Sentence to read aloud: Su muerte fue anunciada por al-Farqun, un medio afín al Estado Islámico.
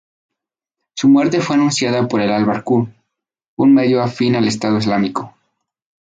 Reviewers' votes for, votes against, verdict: 0, 2, rejected